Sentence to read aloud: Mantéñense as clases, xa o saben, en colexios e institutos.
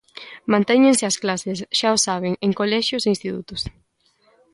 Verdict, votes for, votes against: accepted, 3, 0